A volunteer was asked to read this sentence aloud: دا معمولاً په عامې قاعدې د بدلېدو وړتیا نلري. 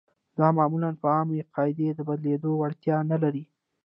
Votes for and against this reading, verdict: 1, 2, rejected